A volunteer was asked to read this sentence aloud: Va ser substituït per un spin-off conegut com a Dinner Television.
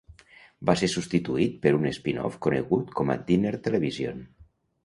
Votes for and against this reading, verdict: 2, 0, accepted